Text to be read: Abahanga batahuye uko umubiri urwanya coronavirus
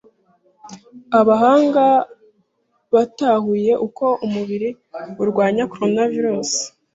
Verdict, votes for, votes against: accepted, 2, 0